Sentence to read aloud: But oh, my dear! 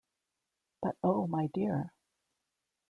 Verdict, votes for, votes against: accepted, 2, 0